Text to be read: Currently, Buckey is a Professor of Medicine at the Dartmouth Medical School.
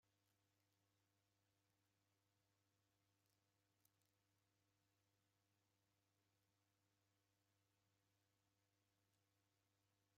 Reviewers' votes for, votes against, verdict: 0, 2, rejected